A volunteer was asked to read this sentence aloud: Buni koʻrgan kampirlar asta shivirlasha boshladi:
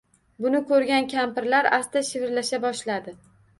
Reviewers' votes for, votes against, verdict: 2, 0, accepted